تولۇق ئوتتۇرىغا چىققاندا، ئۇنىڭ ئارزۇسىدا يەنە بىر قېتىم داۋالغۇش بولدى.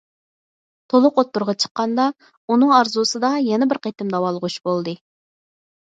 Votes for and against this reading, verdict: 4, 0, accepted